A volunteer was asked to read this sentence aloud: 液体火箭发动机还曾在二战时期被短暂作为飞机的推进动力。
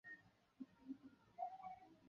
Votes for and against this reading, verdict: 0, 3, rejected